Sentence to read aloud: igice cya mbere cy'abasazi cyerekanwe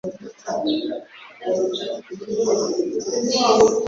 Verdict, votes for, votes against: rejected, 1, 2